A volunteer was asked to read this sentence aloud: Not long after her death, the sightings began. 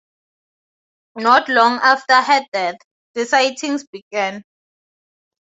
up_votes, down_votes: 2, 0